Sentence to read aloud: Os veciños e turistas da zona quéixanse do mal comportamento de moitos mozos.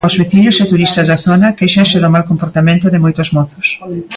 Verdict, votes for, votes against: accepted, 2, 0